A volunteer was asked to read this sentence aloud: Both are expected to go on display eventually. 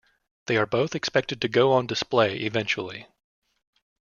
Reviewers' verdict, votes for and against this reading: rejected, 1, 2